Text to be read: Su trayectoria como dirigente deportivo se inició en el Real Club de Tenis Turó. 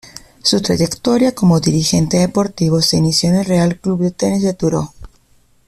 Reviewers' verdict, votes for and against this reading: rejected, 0, 2